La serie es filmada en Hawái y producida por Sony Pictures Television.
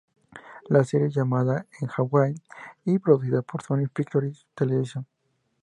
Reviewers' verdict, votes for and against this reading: rejected, 0, 2